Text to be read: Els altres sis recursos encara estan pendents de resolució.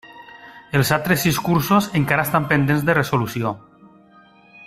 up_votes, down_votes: 1, 2